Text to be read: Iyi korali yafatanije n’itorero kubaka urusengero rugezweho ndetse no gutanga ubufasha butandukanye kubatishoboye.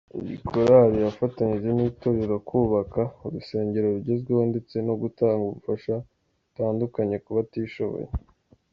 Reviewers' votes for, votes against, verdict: 2, 0, accepted